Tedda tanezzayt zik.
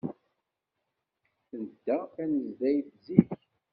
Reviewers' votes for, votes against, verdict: 0, 2, rejected